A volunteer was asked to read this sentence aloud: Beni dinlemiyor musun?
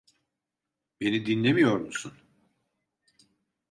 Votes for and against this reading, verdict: 2, 0, accepted